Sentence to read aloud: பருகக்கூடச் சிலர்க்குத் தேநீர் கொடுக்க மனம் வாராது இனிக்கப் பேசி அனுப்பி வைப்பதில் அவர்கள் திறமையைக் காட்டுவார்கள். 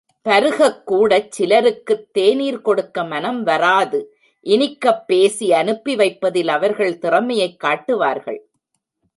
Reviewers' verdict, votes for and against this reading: rejected, 1, 2